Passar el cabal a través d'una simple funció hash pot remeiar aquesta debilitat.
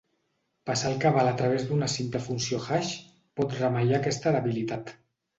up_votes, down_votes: 2, 0